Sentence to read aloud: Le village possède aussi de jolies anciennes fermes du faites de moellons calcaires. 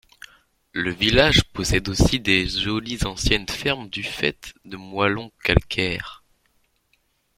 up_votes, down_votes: 0, 4